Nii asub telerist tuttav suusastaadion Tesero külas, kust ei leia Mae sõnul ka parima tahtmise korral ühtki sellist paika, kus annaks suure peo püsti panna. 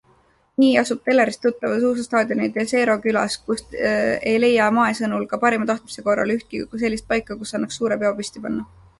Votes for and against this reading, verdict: 2, 1, accepted